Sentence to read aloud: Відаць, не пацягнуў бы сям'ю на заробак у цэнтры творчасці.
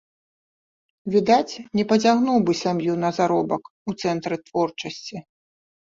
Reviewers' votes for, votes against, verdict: 2, 0, accepted